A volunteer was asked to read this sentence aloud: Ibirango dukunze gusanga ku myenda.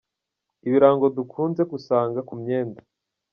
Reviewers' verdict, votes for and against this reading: accepted, 2, 0